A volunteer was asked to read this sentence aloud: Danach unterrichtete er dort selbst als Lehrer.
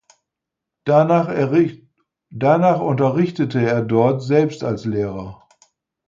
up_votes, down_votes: 0, 4